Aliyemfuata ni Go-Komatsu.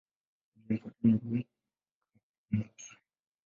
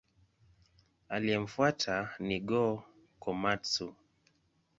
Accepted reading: second